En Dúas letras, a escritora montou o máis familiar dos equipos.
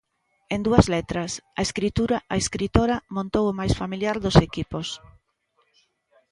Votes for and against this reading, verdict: 0, 2, rejected